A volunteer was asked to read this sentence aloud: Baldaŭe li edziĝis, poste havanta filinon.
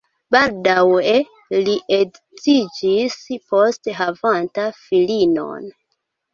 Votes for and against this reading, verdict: 2, 1, accepted